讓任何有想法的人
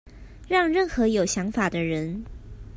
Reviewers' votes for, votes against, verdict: 2, 0, accepted